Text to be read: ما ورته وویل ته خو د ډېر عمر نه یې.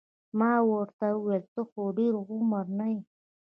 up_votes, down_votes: 1, 2